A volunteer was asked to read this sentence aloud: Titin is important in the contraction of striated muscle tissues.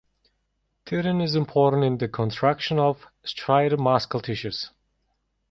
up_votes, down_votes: 1, 2